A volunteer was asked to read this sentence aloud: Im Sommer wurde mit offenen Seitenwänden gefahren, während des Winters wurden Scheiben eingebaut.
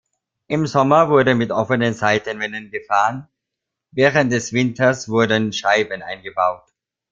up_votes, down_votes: 1, 2